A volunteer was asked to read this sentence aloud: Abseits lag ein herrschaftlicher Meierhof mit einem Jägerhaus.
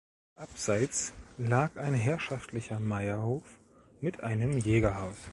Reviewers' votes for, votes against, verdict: 2, 0, accepted